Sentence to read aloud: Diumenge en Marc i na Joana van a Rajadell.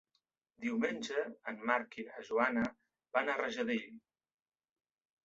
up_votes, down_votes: 3, 0